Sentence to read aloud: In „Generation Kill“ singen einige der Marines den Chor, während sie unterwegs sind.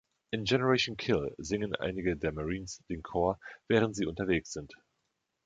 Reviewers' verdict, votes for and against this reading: accepted, 3, 0